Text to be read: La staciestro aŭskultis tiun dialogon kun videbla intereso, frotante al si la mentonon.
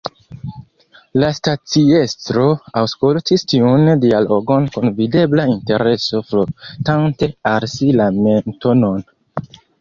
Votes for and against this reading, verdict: 2, 0, accepted